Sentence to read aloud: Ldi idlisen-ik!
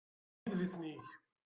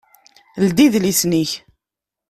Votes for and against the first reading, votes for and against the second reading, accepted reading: 0, 2, 2, 0, second